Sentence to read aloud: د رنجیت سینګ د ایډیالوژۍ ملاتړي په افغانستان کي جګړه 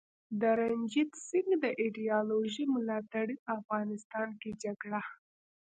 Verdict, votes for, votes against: rejected, 1, 2